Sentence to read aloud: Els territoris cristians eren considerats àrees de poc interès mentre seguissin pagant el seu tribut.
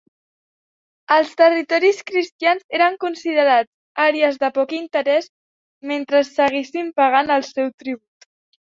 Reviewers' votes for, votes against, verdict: 2, 1, accepted